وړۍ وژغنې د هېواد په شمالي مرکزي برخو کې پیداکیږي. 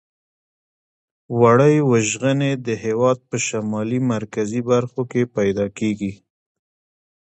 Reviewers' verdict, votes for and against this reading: accepted, 2, 1